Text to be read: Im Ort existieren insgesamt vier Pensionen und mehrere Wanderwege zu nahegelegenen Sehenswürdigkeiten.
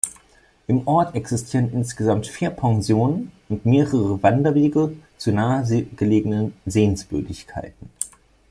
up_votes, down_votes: 0, 2